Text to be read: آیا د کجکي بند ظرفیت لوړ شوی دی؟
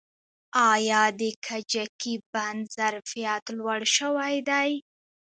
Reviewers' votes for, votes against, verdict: 2, 1, accepted